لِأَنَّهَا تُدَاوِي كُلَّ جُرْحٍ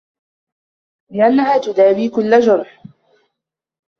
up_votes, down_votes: 2, 1